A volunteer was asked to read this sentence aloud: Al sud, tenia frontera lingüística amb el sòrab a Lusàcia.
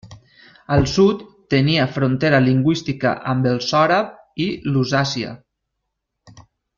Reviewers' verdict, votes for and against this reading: rejected, 1, 2